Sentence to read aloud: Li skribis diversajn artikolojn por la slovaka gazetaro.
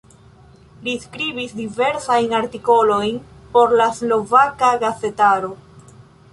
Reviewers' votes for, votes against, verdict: 1, 2, rejected